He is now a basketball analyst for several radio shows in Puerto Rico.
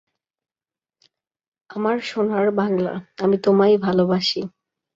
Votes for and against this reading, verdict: 0, 2, rejected